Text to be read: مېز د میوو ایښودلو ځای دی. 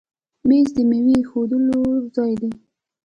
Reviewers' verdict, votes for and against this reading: rejected, 1, 2